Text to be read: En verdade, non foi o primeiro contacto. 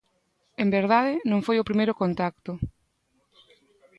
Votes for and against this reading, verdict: 2, 0, accepted